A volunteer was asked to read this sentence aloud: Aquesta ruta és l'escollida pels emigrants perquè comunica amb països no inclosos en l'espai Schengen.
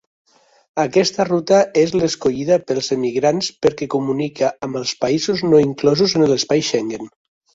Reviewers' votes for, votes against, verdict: 0, 2, rejected